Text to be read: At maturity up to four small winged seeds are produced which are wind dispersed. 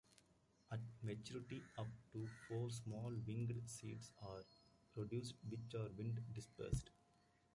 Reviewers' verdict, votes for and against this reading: accepted, 2, 1